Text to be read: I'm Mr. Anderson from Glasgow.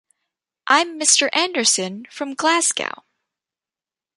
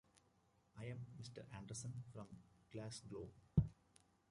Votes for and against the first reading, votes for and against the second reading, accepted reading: 2, 0, 1, 2, first